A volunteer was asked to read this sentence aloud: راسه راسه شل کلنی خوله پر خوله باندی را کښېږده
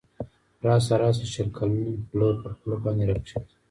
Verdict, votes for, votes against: rejected, 1, 2